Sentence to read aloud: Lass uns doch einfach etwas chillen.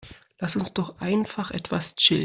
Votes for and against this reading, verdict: 0, 2, rejected